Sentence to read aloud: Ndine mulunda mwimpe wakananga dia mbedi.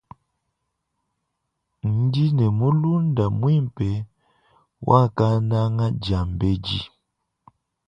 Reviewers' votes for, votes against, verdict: 1, 2, rejected